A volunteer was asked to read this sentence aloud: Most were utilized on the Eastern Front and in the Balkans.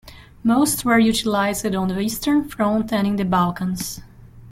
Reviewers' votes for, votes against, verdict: 1, 2, rejected